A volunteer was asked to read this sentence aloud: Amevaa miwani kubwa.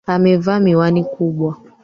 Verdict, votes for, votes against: accepted, 2, 1